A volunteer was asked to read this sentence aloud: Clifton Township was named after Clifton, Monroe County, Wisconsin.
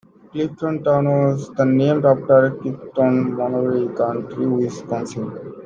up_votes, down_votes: 0, 2